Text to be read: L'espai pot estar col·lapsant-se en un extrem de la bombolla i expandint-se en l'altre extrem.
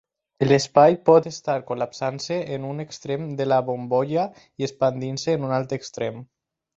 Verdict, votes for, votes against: rejected, 2, 4